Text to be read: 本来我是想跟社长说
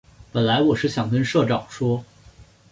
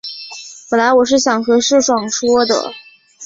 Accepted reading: first